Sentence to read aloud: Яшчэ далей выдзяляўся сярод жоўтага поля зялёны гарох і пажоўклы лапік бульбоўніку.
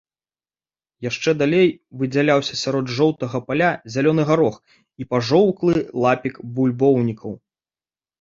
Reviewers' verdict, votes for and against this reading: rejected, 0, 2